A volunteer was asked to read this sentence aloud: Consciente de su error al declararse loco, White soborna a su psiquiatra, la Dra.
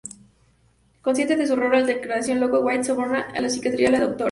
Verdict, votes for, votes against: rejected, 0, 2